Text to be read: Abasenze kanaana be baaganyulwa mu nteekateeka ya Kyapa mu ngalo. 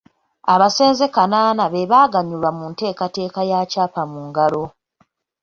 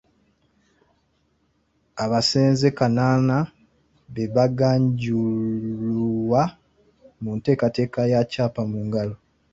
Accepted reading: first